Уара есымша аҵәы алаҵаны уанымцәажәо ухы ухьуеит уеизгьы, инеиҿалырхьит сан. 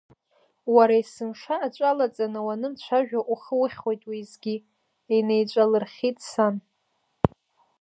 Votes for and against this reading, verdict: 1, 2, rejected